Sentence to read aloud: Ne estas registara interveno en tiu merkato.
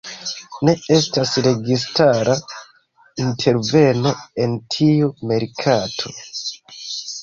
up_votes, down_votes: 2, 0